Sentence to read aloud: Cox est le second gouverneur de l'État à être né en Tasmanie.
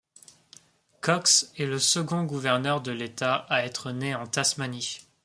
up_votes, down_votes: 2, 0